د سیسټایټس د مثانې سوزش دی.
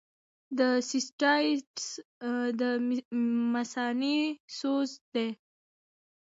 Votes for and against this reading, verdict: 1, 2, rejected